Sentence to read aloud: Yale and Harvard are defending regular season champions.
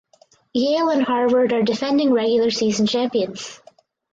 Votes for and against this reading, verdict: 2, 0, accepted